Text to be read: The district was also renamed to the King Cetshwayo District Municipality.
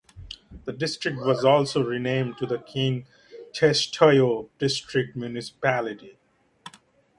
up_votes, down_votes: 1, 2